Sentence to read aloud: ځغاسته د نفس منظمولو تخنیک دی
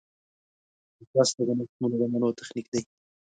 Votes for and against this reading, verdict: 0, 2, rejected